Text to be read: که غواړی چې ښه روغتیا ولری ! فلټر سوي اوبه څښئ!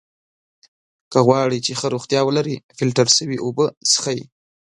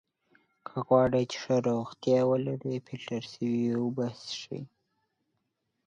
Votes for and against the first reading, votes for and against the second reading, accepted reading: 0, 2, 4, 0, second